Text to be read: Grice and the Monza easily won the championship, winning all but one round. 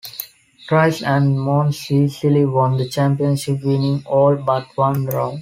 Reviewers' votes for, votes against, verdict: 1, 2, rejected